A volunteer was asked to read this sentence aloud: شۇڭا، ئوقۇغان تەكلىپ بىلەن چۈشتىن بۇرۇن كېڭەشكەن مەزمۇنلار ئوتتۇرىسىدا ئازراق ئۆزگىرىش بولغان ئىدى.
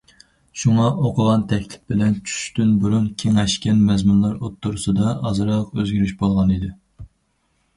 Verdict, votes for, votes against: accepted, 4, 0